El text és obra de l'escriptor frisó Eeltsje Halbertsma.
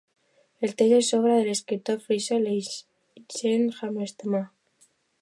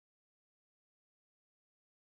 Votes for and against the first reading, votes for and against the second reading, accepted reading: 2, 0, 0, 2, first